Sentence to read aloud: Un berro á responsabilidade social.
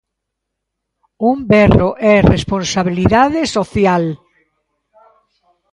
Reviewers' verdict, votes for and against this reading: rejected, 0, 2